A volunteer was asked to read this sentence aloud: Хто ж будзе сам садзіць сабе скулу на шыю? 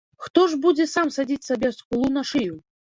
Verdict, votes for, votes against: accepted, 2, 0